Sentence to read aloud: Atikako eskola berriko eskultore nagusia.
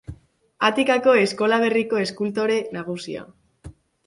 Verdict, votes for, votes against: accepted, 3, 0